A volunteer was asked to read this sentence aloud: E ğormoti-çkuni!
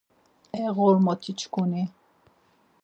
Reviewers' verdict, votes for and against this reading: accepted, 4, 0